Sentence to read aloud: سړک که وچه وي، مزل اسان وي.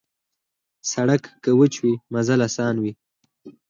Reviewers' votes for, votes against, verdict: 4, 0, accepted